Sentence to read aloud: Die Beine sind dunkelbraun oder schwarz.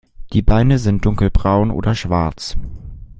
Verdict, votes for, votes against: accepted, 2, 0